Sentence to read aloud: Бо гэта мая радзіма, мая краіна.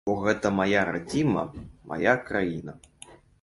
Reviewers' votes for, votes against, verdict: 2, 0, accepted